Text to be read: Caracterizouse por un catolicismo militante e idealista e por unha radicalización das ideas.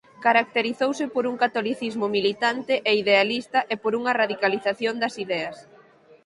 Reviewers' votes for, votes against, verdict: 6, 0, accepted